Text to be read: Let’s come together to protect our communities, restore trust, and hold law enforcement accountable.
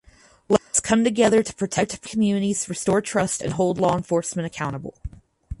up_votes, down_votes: 0, 6